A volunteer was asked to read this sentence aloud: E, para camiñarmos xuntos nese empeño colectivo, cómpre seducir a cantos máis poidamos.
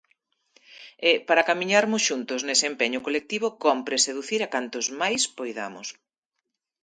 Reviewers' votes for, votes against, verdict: 2, 0, accepted